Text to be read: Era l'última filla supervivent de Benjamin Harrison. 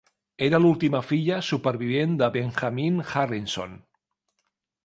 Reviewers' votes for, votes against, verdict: 0, 2, rejected